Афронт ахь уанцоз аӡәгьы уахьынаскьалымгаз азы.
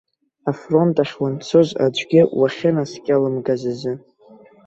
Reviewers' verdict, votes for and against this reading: accepted, 2, 0